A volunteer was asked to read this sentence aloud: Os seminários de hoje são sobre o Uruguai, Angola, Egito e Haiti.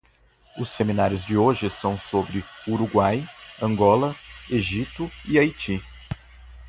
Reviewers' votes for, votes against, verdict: 2, 0, accepted